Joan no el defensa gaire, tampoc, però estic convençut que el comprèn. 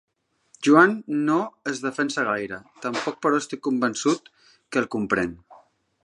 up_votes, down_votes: 0, 2